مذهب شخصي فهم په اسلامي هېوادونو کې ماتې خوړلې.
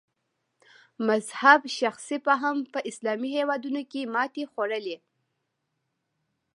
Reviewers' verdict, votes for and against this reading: accepted, 2, 0